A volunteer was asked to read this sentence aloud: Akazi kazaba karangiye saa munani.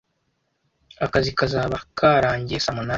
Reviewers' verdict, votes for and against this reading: accepted, 2, 1